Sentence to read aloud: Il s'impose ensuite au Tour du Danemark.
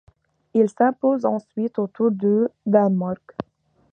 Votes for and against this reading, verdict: 2, 0, accepted